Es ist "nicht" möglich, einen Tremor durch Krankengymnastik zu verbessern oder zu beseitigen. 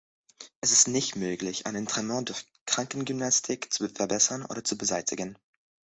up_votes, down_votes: 1, 2